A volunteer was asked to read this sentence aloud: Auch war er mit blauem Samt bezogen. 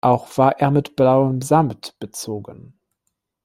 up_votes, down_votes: 1, 2